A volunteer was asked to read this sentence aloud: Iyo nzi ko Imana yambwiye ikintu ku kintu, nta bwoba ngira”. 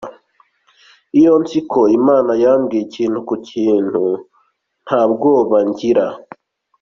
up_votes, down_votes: 2, 0